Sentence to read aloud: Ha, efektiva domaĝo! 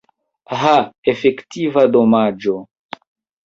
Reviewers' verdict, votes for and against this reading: accepted, 2, 1